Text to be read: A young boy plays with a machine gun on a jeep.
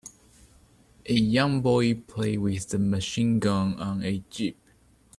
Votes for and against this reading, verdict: 3, 4, rejected